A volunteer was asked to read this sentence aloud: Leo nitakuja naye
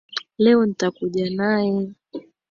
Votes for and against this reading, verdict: 2, 1, accepted